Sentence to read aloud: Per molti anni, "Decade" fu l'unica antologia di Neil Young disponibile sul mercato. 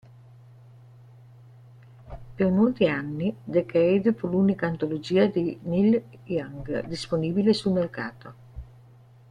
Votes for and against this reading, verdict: 1, 2, rejected